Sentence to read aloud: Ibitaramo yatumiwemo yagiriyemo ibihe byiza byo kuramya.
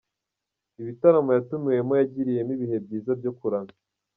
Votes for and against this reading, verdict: 0, 2, rejected